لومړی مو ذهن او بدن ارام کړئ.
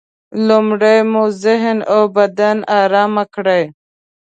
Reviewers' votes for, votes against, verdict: 2, 0, accepted